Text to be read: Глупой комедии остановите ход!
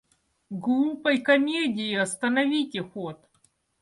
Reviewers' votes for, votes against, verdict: 2, 0, accepted